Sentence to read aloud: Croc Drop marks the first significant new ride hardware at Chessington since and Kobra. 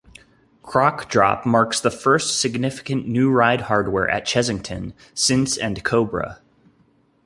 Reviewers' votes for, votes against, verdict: 2, 0, accepted